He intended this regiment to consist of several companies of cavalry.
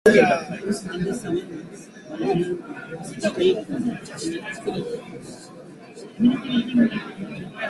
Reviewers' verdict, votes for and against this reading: rejected, 0, 2